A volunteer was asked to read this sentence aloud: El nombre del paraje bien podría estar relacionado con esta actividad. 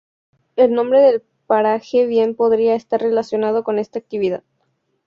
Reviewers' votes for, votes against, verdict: 2, 0, accepted